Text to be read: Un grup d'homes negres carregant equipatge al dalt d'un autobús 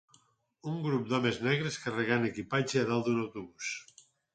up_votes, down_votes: 2, 4